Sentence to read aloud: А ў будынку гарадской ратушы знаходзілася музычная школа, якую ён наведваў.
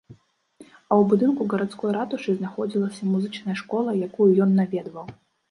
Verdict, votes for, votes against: rejected, 1, 2